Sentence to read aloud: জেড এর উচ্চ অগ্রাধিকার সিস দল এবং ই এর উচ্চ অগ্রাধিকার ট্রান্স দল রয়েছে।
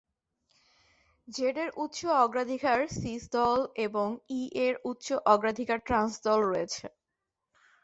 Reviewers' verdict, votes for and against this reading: accepted, 2, 0